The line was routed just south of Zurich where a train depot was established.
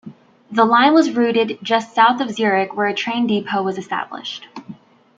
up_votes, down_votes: 2, 0